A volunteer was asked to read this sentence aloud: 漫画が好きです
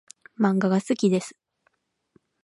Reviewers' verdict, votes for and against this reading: rejected, 2, 2